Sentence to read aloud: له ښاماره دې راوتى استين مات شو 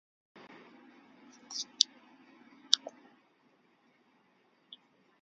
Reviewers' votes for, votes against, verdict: 0, 2, rejected